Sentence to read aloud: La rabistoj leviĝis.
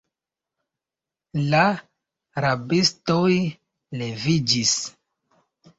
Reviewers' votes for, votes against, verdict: 2, 1, accepted